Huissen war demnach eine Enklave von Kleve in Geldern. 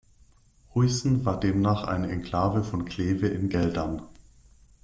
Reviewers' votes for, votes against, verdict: 2, 0, accepted